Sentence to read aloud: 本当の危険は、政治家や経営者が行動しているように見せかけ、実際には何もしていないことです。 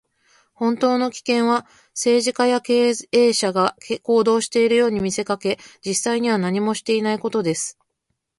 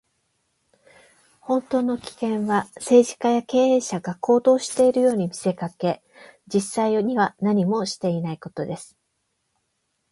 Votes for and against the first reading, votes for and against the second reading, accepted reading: 0, 2, 8, 0, second